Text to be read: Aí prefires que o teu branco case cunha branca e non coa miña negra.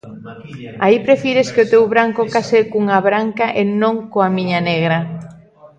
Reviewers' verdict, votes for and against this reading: rejected, 1, 2